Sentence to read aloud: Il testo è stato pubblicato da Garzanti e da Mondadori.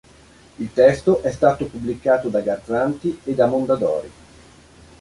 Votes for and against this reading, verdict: 5, 1, accepted